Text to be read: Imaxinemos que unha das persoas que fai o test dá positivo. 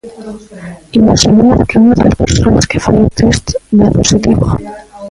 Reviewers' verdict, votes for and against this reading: rejected, 0, 2